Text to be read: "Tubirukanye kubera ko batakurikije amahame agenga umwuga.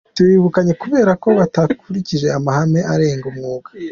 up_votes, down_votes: 2, 0